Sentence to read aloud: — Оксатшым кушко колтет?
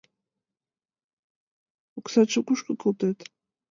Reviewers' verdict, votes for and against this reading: rejected, 1, 2